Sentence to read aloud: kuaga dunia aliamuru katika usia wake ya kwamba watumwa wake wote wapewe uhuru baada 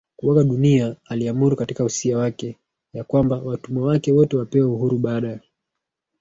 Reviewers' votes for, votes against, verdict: 2, 0, accepted